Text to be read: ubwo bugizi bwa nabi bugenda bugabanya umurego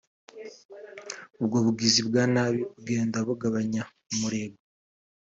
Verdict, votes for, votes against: rejected, 0, 2